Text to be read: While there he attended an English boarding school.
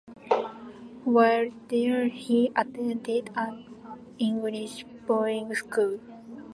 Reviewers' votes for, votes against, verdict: 2, 0, accepted